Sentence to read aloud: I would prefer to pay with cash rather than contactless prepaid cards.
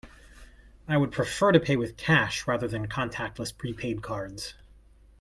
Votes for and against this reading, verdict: 2, 0, accepted